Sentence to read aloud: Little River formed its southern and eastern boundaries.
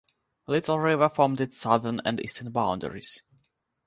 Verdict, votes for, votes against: accepted, 6, 0